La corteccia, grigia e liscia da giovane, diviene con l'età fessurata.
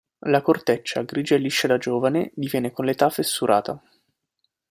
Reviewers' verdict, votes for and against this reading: accepted, 2, 0